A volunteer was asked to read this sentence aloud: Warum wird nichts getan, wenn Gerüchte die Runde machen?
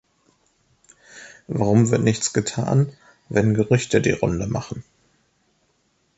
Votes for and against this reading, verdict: 3, 0, accepted